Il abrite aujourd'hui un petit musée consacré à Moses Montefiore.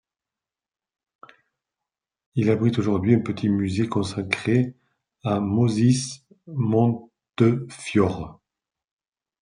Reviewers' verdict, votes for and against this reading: rejected, 1, 2